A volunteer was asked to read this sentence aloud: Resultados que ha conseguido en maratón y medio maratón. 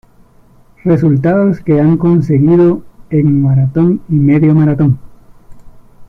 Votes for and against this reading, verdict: 1, 2, rejected